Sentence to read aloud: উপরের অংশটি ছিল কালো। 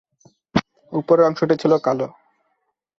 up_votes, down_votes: 2, 0